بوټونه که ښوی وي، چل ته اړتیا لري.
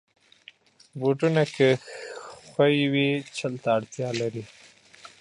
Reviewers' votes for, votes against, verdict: 1, 2, rejected